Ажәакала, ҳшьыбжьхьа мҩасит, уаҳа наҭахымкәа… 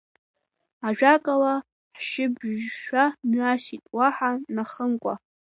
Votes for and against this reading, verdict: 1, 3, rejected